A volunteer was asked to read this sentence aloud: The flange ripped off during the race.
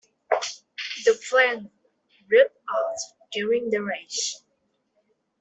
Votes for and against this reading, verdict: 0, 2, rejected